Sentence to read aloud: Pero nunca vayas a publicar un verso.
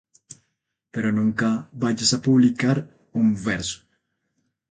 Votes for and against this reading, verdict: 0, 2, rejected